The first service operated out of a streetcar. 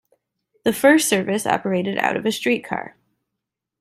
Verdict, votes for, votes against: accepted, 2, 0